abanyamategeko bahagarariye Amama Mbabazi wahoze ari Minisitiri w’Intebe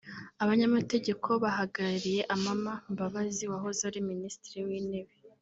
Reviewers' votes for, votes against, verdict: 0, 2, rejected